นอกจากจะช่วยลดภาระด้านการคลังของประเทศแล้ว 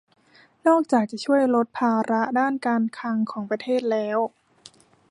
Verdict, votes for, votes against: accepted, 2, 0